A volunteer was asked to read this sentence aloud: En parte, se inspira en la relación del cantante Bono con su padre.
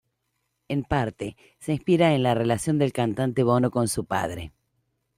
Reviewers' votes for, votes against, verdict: 2, 0, accepted